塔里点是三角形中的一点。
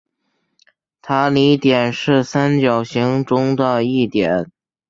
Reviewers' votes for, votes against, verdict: 2, 0, accepted